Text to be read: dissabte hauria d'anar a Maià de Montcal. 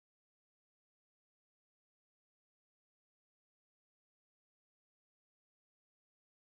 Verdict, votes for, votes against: rejected, 0, 2